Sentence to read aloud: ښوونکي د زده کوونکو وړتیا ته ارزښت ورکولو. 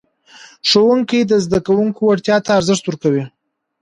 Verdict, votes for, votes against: rejected, 1, 2